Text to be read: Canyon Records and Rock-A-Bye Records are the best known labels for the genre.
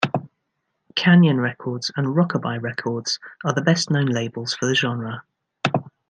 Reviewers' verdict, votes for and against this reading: accepted, 2, 0